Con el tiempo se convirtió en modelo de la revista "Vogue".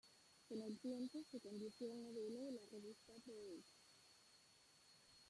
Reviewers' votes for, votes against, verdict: 0, 2, rejected